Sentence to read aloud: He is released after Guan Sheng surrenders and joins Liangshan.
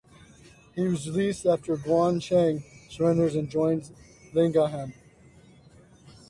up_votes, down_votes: 0, 2